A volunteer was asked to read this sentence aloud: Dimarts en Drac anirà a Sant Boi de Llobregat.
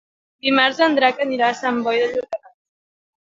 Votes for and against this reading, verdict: 0, 2, rejected